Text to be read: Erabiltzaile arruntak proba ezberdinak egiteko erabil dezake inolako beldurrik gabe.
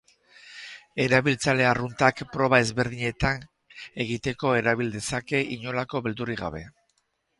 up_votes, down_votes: 2, 4